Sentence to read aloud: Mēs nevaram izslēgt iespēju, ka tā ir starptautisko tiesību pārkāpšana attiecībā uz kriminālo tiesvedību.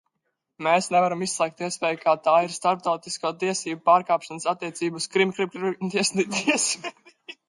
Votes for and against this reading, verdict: 0, 2, rejected